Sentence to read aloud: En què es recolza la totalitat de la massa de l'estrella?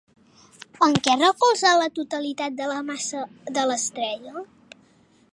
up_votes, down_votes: 2, 0